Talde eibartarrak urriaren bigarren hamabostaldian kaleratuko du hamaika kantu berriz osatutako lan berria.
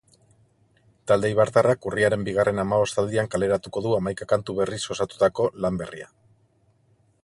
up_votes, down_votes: 2, 0